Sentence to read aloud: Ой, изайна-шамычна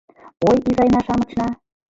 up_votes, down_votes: 0, 2